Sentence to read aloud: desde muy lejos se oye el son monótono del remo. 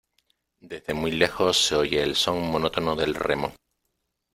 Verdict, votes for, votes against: accepted, 2, 0